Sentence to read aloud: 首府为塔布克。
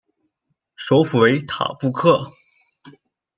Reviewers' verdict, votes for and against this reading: accepted, 2, 0